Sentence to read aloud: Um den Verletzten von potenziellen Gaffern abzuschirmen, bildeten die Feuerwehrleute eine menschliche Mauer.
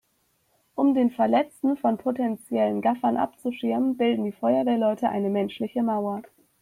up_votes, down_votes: 0, 2